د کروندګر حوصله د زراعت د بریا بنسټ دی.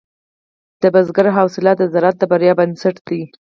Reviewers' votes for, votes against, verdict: 2, 4, rejected